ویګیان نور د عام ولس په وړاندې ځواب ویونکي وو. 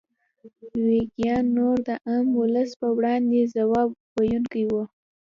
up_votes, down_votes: 2, 0